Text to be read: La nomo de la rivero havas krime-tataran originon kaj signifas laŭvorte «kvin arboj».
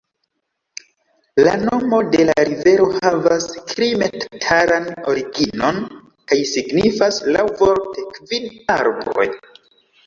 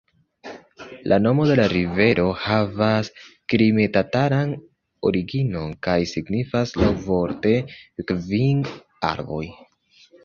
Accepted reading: second